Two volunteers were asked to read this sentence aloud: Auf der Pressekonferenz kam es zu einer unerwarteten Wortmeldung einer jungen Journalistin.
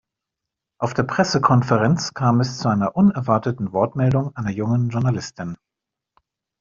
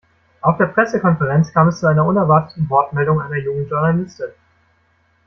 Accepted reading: first